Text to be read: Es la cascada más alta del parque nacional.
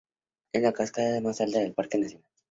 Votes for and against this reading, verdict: 0, 4, rejected